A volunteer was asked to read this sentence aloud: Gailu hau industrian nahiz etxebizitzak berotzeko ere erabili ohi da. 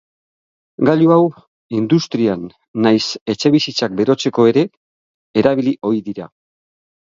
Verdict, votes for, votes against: rejected, 3, 6